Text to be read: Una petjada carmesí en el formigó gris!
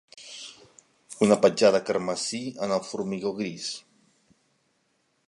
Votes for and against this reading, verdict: 3, 0, accepted